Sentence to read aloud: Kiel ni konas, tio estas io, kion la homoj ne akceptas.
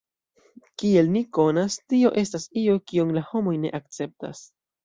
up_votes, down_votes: 0, 2